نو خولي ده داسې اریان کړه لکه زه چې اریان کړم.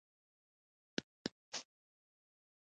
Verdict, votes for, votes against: rejected, 1, 2